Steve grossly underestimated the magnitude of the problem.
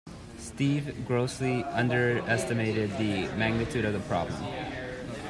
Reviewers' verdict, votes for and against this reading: accepted, 2, 1